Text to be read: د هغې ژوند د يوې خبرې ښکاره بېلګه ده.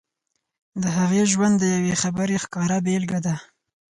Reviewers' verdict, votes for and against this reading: accepted, 4, 2